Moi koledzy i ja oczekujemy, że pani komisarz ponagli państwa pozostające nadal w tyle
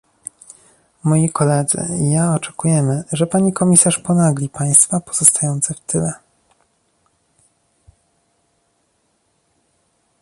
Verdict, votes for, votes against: rejected, 0, 2